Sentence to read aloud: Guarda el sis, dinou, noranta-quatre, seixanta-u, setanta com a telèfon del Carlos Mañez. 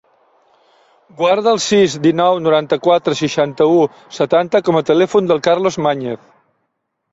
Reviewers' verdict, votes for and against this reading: rejected, 1, 2